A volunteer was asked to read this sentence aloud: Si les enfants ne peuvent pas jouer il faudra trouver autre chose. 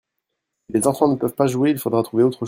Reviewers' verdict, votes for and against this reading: rejected, 0, 2